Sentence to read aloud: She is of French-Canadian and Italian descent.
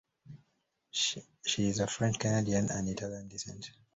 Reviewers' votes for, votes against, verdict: 2, 0, accepted